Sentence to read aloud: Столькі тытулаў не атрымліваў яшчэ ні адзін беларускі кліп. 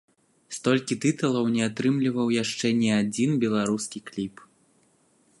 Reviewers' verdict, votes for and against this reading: accepted, 2, 0